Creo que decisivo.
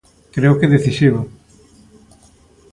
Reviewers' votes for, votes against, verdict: 2, 0, accepted